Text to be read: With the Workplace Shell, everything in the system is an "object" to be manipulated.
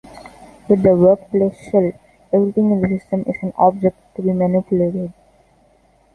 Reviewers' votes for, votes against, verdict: 2, 1, accepted